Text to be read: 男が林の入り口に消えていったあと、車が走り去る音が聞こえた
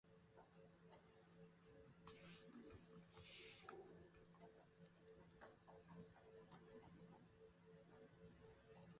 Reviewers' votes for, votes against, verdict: 0, 2, rejected